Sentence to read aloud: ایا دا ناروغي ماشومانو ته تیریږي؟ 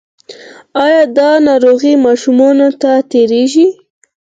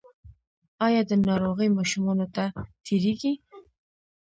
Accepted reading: first